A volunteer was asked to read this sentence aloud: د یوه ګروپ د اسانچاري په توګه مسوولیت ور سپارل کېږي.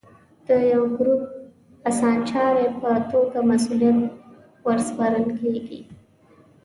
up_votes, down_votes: 2, 0